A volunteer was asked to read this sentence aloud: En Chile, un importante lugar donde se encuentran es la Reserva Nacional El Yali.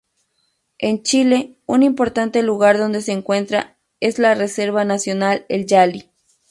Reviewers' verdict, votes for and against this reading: rejected, 0, 2